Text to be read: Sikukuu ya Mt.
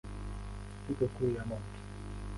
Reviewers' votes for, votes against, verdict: 0, 2, rejected